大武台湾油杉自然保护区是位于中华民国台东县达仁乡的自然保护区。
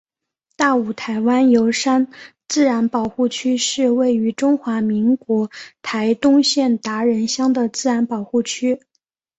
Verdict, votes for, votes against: accepted, 2, 0